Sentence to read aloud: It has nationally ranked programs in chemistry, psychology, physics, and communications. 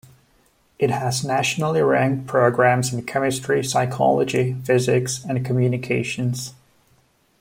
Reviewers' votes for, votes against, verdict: 2, 0, accepted